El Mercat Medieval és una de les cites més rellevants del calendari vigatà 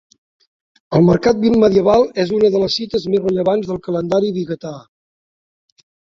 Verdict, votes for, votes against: rejected, 1, 2